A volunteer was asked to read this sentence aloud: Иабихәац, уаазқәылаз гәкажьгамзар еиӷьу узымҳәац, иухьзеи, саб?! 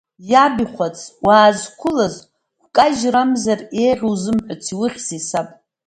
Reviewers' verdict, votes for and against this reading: accepted, 2, 0